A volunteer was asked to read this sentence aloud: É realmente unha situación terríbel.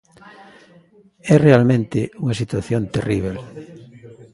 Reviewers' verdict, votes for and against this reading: accepted, 2, 0